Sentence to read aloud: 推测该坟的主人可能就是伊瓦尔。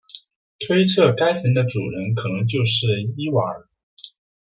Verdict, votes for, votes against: accepted, 2, 0